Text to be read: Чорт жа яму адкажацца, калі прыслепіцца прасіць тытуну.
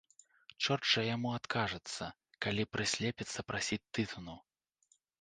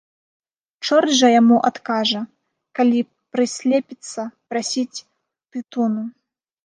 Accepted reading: first